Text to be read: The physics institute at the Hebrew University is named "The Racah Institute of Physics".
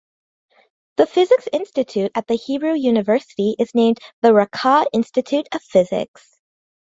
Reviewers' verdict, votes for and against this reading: accepted, 2, 1